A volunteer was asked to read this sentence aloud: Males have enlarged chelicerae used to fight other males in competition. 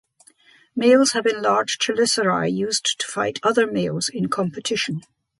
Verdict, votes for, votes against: accepted, 2, 0